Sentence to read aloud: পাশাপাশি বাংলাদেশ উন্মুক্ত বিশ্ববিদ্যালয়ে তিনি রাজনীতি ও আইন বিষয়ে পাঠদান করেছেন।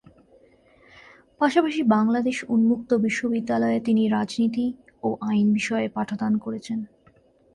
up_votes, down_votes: 2, 0